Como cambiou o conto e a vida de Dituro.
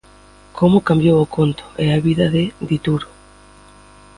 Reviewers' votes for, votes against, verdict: 2, 1, accepted